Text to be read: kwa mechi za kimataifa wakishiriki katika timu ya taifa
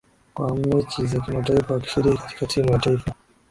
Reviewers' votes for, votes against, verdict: 1, 2, rejected